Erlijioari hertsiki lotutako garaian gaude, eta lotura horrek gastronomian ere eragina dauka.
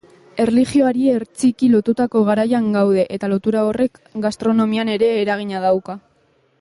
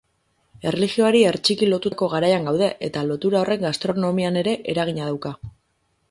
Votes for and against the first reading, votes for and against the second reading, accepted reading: 2, 0, 0, 6, first